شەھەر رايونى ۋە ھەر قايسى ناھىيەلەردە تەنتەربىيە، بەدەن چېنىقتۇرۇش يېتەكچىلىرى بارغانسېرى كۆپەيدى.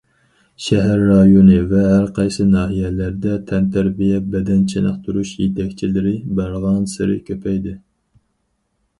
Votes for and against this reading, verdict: 4, 0, accepted